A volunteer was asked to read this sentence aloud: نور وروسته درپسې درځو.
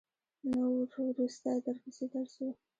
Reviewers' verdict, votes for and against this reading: rejected, 1, 2